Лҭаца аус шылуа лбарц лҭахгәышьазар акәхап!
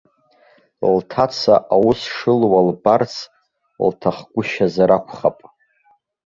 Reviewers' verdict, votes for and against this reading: accepted, 2, 1